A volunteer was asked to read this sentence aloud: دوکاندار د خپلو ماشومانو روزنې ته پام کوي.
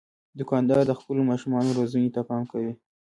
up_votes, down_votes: 1, 2